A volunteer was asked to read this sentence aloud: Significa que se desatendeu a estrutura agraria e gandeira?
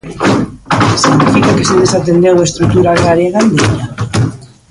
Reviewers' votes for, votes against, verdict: 1, 2, rejected